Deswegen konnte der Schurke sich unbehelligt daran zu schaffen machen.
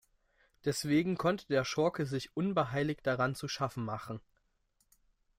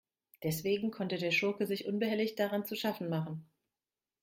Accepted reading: second